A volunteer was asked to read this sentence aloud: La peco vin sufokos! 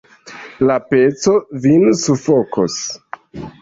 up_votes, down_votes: 4, 2